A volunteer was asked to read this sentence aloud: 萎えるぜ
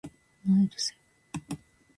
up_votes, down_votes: 0, 2